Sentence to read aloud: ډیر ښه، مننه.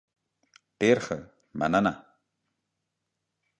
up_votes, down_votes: 2, 1